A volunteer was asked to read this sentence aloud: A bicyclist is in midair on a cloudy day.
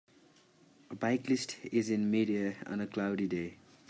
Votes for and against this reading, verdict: 0, 2, rejected